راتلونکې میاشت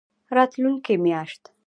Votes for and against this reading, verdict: 2, 1, accepted